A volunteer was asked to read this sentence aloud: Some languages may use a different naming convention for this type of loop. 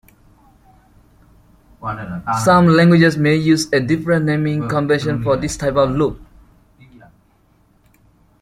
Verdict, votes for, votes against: accepted, 2, 0